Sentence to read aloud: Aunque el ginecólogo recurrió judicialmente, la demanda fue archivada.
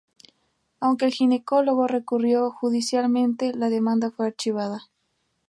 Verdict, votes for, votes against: accepted, 4, 0